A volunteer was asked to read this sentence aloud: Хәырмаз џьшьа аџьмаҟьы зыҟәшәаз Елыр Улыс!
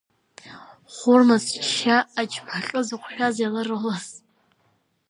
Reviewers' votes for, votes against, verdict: 0, 2, rejected